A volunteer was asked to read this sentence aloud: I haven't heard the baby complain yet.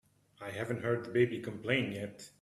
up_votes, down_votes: 2, 1